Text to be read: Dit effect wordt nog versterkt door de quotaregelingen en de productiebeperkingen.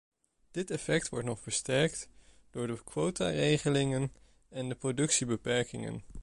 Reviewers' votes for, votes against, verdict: 1, 2, rejected